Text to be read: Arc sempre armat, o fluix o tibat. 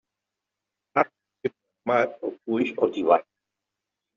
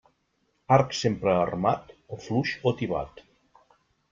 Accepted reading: second